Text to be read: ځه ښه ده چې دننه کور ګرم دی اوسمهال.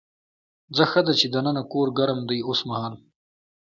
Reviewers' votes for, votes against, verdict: 2, 0, accepted